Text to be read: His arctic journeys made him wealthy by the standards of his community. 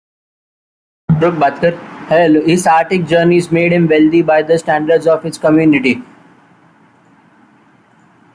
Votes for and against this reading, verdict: 0, 2, rejected